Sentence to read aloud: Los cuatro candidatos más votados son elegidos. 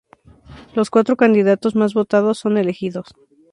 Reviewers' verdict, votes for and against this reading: rejected, 2, 2